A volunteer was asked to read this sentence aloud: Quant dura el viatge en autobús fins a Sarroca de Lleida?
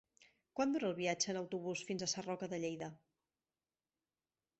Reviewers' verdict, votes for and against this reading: accepted, 3, 0